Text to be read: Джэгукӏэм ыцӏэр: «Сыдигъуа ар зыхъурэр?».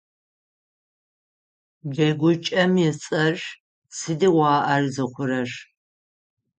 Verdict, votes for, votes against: accepted, 6, 0